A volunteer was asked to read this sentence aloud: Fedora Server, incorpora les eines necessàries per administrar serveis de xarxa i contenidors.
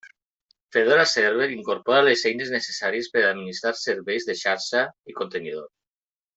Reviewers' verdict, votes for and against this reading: rejected, 1, 2